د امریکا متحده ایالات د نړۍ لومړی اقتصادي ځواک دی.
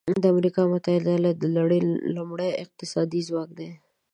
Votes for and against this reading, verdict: 2, 0, accepted